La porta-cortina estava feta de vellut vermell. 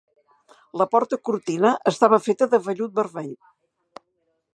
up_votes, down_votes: 2, 0